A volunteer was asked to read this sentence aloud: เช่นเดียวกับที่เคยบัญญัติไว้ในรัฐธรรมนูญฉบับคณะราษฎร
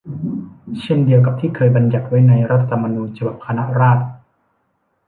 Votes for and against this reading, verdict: 1, 2, rejected